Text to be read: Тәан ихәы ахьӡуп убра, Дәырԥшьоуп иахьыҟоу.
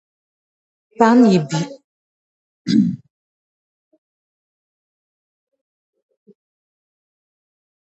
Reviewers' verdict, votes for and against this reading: rejected, 0, 2